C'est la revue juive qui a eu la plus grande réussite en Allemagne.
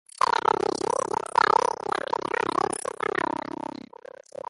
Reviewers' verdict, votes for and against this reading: rejected, 0, 2